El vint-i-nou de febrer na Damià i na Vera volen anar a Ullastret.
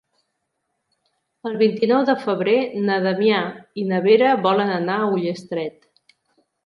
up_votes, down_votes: 2, 0